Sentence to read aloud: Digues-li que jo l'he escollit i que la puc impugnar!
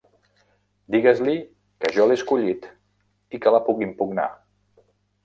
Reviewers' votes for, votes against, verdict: 2, 0, accepted